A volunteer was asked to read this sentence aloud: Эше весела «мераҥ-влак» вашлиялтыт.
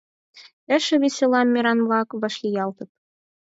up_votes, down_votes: 4, 0